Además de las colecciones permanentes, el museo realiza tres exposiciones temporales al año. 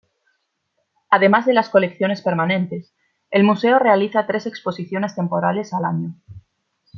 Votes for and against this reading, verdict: 2, 0, accepted